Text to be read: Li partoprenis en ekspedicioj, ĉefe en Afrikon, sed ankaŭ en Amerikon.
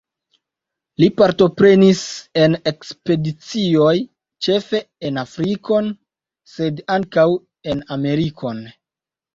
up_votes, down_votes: 2, 1